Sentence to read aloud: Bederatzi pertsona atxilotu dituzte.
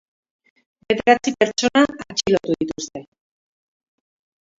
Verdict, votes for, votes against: rejected, 0, 2